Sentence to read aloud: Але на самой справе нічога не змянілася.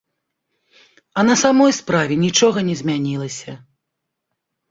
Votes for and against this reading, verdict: 1, 2, rejected